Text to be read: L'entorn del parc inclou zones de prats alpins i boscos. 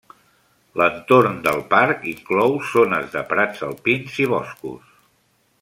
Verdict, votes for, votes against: accepted, 3, 0